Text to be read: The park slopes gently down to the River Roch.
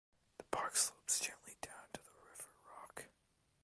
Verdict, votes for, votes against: rejected, 0, 2